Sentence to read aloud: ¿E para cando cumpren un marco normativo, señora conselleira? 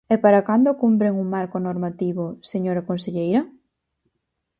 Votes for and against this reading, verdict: 4, 0, accepted